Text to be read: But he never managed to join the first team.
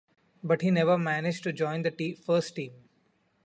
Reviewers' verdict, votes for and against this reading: rejected, 1, 2